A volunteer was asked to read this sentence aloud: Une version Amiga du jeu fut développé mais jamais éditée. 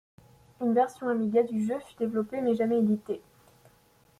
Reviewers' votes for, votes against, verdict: 1, 2, rejected